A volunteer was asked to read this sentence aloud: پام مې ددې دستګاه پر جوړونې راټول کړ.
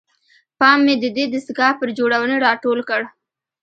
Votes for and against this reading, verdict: 1, 2, rejected